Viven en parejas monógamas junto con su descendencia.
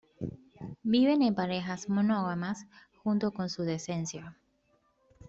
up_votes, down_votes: 0, 2